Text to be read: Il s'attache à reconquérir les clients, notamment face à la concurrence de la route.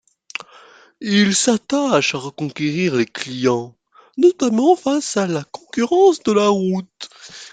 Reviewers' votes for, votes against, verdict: 2, 0, accepted